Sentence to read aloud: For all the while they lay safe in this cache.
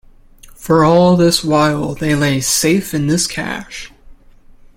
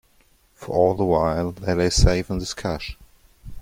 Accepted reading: second